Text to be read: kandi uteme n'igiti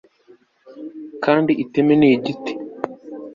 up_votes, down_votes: 1, 2